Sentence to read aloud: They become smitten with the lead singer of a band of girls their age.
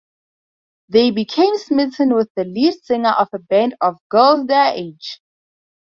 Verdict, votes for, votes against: accepted, 2, 0